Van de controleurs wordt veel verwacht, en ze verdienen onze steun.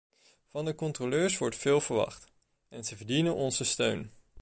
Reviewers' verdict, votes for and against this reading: rejected, 1, 2